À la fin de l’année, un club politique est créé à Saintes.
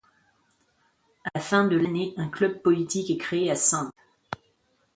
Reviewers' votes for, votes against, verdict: 2, 1, accepted